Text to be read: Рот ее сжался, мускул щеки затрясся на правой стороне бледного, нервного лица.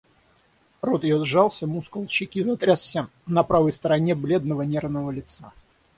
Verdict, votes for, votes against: rejected, 3, 6